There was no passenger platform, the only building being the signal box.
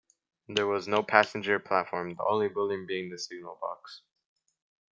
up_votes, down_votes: 1, 2